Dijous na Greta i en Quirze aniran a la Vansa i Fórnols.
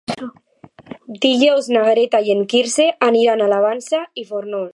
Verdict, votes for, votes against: accepted, 2, 1